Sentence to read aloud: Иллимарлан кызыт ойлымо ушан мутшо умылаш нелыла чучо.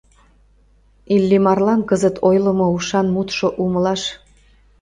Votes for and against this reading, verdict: 0, 2, rejected